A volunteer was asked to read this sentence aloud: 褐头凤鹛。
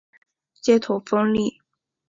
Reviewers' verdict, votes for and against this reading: rejected, 0, 2